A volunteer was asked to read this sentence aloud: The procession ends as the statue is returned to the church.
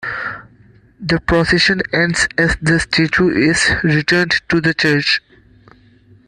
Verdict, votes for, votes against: accepted, 2, 0